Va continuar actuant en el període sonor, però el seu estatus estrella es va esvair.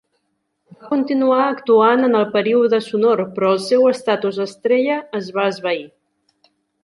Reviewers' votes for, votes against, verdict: 0, 2, rejected